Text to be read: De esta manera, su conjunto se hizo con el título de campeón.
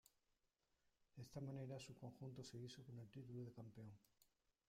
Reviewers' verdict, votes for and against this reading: rejected, 1, 2